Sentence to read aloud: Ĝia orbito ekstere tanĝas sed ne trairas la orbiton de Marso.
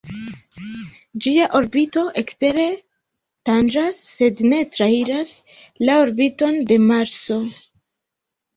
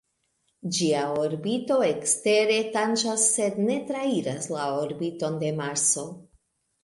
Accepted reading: second